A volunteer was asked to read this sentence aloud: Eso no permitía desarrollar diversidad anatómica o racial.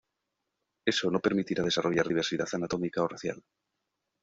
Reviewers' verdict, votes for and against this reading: rejected, 1, 2